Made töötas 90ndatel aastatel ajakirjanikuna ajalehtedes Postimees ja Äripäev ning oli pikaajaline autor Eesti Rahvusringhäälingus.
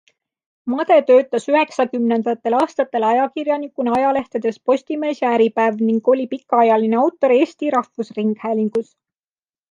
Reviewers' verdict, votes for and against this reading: rejected, 0, 2